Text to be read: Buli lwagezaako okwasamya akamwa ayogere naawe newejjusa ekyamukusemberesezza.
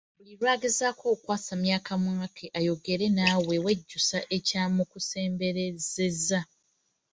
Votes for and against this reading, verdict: 2, 1, accepted